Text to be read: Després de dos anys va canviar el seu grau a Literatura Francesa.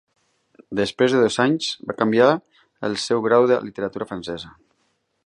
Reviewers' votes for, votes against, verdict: 0, 2, rejected